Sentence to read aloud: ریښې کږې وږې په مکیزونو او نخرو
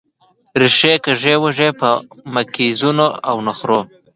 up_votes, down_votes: 2, 0